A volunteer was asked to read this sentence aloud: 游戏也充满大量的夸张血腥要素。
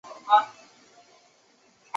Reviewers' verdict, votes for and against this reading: rejected, 1, 2